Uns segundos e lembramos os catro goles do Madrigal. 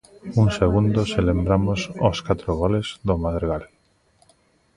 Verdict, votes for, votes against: rejected, 0, 2